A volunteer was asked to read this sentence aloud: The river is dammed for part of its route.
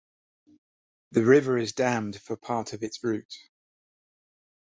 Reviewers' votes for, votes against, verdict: 2, 0, accepted